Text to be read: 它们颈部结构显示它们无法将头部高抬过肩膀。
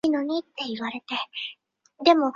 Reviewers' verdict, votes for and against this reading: rejected, 0, 2